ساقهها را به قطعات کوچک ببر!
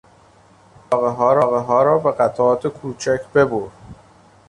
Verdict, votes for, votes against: rejected, 0, 2